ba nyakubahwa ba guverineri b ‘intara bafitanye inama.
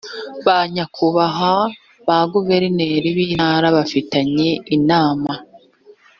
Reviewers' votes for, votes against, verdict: 2, 0, accepted